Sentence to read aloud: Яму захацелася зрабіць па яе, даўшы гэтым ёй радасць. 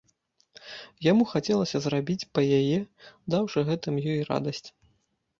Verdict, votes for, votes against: rejected, 3, 4